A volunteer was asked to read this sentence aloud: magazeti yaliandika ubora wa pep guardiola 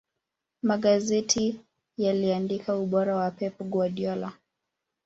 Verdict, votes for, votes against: rejected, 1, 2